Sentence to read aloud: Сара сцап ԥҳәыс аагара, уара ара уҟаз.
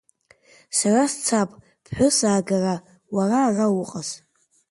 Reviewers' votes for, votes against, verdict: 2, 1, accepted